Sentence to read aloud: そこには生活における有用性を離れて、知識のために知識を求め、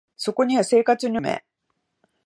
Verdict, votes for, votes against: rejected, 0, 2